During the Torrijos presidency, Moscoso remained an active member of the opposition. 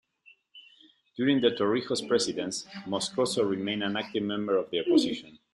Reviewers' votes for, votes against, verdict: 2, 0, accepted